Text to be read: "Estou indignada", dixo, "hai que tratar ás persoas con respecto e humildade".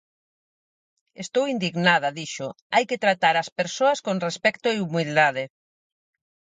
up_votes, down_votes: 2, 2